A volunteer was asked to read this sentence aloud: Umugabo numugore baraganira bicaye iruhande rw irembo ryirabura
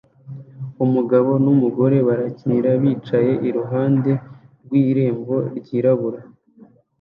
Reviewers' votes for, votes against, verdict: 0, 2, rejected